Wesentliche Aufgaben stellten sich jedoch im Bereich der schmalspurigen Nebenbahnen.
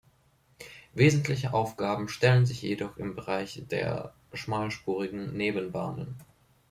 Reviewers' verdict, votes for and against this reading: rejected, 0, 2